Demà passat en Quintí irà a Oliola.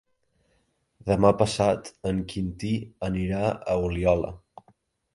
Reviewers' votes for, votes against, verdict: 1, 2, rejected